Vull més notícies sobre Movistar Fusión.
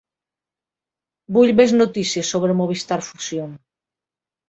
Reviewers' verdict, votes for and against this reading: accepted, 2, 1